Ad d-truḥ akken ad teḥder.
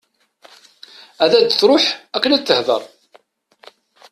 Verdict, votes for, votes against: rejected, 0, 2